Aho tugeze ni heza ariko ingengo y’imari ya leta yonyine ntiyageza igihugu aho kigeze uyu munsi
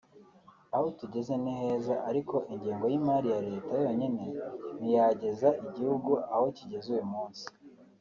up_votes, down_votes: 2, 0